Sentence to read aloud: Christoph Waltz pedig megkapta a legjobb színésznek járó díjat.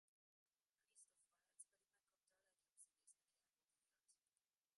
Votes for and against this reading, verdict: 0, 2, rejected